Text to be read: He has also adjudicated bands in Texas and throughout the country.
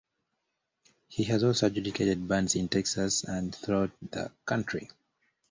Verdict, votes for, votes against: accepted, 2, 0